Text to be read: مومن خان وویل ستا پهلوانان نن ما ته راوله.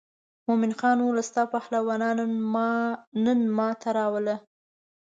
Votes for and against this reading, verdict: 1, 2, rejected